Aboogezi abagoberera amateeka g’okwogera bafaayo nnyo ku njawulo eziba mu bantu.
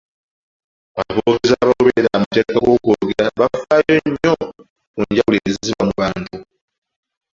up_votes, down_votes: 1, 2